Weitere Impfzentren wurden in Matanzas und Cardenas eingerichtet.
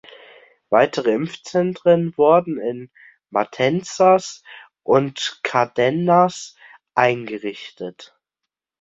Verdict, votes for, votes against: rejected, 0, 2